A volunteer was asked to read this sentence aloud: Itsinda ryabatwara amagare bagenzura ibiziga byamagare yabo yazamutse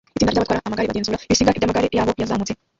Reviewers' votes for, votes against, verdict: 0, 2, rejected